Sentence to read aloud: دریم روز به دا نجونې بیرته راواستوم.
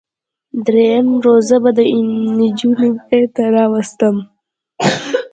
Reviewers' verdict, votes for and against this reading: rejected, 1, 2